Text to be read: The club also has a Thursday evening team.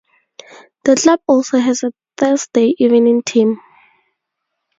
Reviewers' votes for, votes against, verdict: 0, 2, rejected